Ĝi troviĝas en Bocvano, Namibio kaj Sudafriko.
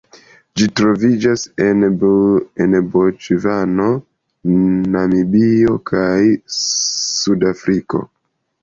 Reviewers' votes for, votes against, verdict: 0, 2, rejected